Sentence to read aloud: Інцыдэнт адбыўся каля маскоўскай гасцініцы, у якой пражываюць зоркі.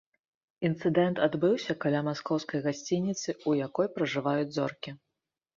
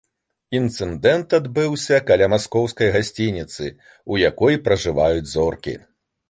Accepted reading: first